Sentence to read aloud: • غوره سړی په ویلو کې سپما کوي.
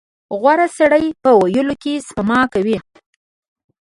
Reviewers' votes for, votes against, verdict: 2, 0, accepted